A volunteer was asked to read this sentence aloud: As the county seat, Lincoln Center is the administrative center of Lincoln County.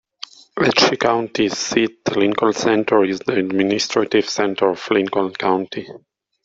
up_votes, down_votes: 0, 2